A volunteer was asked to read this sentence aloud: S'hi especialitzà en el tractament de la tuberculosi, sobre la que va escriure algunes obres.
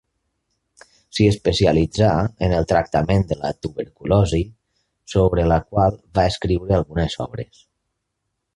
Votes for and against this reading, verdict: 0, 2, rejected